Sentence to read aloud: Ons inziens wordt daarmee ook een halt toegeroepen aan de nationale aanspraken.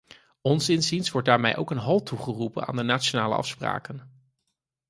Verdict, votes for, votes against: rejected, 2, 4